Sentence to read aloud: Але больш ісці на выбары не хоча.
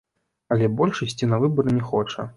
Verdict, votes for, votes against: accepted, 2, 0